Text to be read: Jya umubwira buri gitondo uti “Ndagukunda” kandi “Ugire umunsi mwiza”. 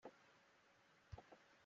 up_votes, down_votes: 0, 2